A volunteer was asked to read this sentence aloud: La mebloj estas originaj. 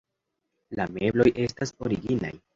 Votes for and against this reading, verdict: 2, 0, accepted